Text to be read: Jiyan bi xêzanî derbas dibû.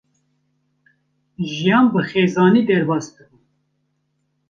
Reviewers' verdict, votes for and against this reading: rejected, 1, 2